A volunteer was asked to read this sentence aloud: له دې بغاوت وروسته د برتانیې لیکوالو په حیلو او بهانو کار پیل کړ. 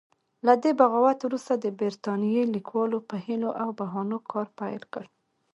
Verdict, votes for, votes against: rejected, 0, 2